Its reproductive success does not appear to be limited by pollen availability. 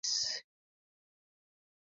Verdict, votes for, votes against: rejected, 0, 2